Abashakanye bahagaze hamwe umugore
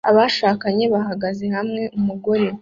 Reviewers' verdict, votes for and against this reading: accepted, 2, 0